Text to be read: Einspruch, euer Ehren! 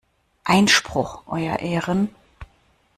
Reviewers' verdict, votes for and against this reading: accepted, 2, 0